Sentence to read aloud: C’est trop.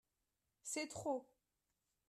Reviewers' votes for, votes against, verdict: 2, 0, accepted